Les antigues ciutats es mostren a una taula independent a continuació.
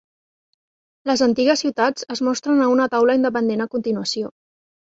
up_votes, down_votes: 3, 0